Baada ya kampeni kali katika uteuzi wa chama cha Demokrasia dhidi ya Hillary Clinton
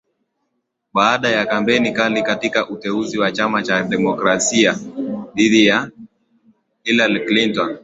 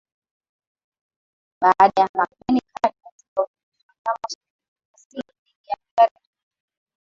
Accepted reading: first